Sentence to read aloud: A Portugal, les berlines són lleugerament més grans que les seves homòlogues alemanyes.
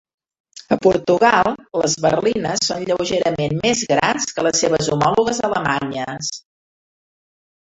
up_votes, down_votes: 1, 2